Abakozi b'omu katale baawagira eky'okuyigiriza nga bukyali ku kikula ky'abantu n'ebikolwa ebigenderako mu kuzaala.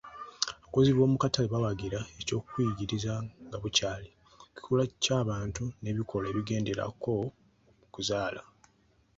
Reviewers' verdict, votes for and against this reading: rejected, 1, 2